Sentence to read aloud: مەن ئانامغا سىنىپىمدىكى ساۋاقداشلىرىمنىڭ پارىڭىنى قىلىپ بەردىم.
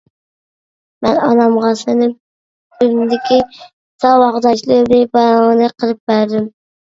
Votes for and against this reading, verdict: 0, 2, rejected